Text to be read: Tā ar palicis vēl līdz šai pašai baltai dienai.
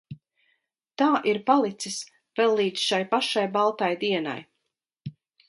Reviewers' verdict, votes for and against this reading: rejected, 0, 4